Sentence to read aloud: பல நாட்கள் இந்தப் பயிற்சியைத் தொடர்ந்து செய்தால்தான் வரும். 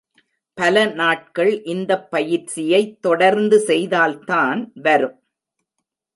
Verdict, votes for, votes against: accepted, 2, 0